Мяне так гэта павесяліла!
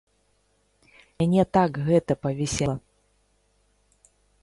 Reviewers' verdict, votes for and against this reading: rejected, 0, 2